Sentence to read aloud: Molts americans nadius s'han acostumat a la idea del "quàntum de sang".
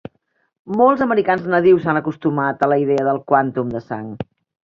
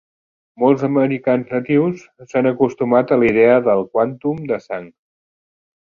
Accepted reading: first